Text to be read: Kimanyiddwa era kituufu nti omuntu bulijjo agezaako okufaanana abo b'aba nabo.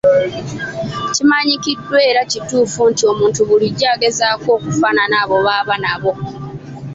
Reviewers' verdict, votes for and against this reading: rejected, 1, 2